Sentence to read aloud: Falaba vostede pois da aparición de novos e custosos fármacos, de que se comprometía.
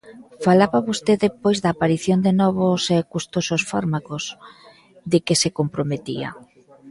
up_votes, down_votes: 2, 0